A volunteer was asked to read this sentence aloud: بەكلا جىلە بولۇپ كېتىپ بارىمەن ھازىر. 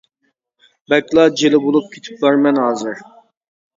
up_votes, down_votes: 2, 0